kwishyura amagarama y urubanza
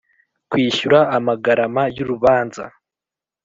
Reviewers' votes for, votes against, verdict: 2, 0, accepted